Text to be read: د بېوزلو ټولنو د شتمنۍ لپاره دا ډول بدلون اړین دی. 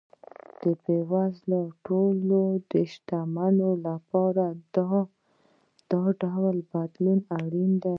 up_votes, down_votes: 0, 2